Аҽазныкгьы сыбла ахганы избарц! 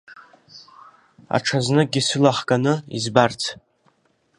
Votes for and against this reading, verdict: 1, 4, rejected